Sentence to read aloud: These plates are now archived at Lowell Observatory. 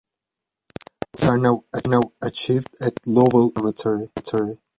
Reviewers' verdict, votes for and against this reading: rejected, 0, 2